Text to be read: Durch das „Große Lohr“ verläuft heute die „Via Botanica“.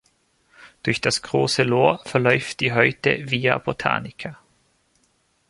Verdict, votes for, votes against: rejected, 0, 2